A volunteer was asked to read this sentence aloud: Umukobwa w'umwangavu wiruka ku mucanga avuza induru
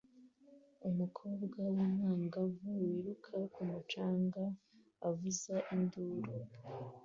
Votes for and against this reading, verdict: 2, 0, accepted